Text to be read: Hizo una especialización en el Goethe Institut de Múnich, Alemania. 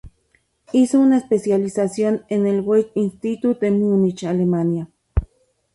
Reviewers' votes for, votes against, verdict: 2, 0, accepted